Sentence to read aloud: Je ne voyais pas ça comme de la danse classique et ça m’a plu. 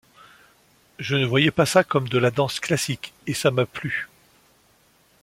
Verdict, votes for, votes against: accepted, 2, 0